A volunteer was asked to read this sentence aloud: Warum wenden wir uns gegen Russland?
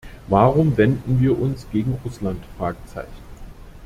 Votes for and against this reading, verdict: 1, 2, rejected